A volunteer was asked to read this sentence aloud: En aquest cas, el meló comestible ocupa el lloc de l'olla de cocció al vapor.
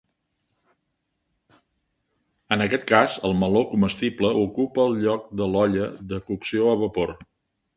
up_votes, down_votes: 2, 0